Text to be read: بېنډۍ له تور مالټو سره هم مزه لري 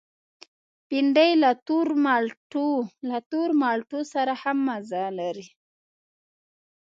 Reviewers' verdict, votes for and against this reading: rejected, 0, 2